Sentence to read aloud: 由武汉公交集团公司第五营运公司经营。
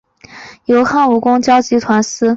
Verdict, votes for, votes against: rejected, 1, 2